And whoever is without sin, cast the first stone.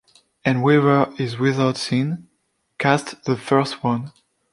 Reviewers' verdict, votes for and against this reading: rejected, 1, 2